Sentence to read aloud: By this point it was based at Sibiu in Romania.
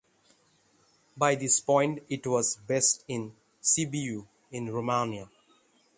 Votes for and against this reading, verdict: 0, 3, rejected